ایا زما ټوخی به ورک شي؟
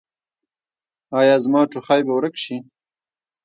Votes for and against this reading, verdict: 2, 1, accepted